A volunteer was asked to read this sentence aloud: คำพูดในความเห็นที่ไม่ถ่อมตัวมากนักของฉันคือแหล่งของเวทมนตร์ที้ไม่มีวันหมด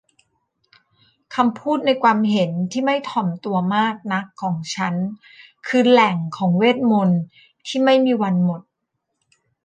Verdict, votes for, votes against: accepted, 2, 0